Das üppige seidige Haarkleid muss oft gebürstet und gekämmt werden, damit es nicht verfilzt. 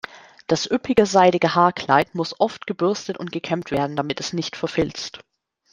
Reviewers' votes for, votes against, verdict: 2, 0, accepted